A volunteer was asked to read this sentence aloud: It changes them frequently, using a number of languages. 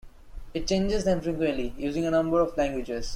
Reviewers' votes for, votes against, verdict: 2, 0, accepted